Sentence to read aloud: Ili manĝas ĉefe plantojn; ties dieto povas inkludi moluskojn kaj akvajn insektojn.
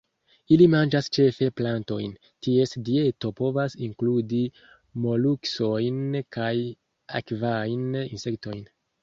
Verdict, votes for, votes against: accepted, 2, 1